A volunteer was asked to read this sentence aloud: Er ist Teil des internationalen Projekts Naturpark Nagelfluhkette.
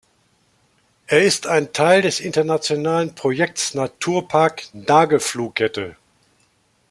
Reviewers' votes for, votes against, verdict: 0, 2, rejected